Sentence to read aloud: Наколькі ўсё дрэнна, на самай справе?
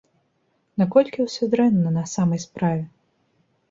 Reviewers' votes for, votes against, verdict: 3, 0, accepted